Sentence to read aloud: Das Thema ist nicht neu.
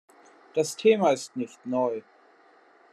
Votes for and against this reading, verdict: 2, 0, accepted